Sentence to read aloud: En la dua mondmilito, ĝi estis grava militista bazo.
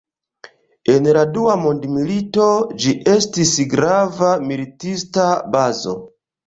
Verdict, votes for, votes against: accepted, 3, 0